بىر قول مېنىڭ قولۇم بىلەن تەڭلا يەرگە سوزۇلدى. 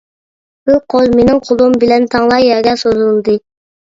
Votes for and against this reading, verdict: 1, 2, rejected